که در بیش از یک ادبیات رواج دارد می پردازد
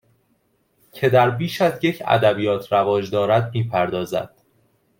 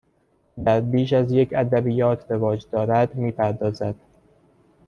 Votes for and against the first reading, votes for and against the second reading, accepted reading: 2, 0, 1, 2, first